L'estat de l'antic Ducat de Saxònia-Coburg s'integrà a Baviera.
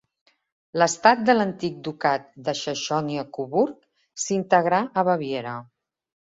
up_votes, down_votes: 1, 2